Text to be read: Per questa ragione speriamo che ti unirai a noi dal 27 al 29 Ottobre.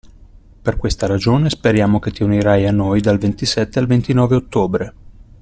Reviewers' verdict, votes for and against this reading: rejected, 0, 2